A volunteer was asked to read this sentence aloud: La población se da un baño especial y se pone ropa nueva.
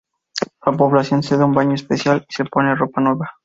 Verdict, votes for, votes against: accepted, 2, 0